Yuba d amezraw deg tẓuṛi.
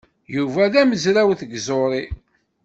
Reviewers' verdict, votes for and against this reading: rejected, 0, 3